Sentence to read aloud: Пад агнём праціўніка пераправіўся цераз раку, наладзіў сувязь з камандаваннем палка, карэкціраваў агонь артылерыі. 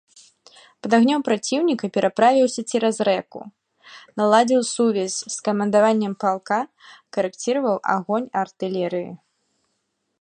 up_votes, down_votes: 1, 2